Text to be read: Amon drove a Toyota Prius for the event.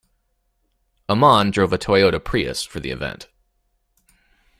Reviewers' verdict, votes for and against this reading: accepted, 2, 0